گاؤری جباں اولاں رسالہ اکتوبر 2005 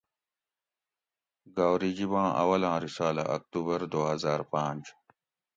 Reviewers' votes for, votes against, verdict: 0, 2, rejected